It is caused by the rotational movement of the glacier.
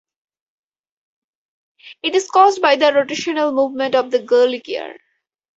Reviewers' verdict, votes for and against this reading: rejected, 2, 4